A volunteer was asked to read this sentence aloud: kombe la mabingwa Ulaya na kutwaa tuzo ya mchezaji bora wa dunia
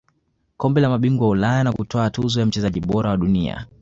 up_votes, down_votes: 2, 0